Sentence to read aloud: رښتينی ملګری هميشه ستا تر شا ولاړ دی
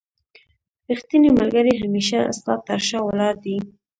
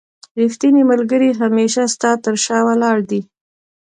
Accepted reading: second